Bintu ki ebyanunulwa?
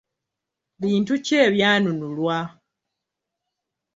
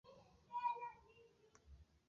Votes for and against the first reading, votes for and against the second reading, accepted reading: 2, 0, 0, 2, first